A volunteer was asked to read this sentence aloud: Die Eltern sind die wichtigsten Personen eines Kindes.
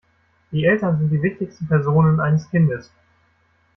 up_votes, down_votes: 0, 2